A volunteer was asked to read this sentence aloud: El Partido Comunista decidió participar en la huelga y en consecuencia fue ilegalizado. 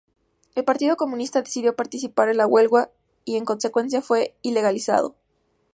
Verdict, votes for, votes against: accepted, 2, 0